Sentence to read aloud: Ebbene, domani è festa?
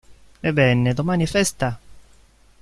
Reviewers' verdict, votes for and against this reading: rejected, 0, 2